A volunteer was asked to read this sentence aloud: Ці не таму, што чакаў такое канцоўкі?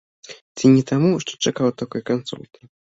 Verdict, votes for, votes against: rejected, 1, 2